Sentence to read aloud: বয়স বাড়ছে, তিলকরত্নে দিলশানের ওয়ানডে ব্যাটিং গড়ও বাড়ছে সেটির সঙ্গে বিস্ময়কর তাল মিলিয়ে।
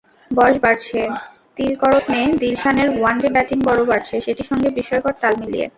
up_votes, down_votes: 0, 2